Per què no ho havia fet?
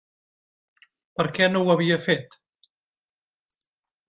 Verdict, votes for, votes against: accepted, 3, 0